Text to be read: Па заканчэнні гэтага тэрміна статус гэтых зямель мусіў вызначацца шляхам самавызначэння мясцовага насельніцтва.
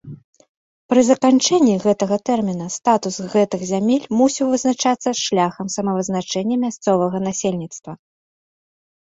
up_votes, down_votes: 0, 2